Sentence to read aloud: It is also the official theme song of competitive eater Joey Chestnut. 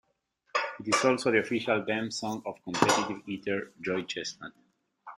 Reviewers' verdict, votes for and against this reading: rejected, 0, 2